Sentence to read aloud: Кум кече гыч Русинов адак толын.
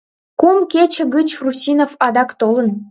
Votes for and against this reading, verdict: 2, 0, accepted